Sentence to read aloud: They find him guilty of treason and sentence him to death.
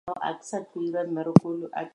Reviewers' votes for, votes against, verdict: 2, 0, accepted